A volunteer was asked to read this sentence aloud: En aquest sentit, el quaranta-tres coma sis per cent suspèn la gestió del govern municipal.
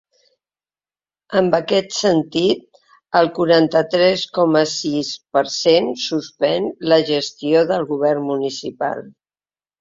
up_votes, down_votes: 3, 1